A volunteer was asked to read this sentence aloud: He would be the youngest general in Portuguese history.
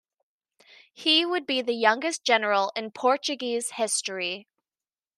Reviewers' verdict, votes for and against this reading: accepted, 2, 0